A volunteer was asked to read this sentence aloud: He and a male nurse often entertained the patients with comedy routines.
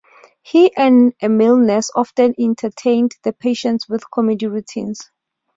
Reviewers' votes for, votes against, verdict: 2, 0, accepted